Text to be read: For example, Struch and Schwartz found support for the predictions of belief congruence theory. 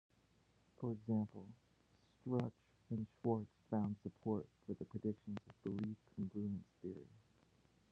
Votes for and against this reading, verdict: 0, 2, rejected